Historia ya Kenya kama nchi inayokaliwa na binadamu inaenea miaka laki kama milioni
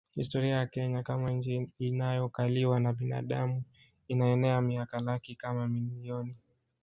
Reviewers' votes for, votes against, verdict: 2, 0, accepted